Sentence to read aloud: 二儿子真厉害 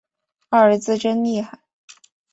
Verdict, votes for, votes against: accepted, 3, 0